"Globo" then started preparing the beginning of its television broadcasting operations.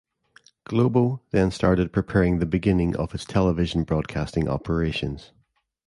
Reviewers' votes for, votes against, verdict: 2, 0, accepted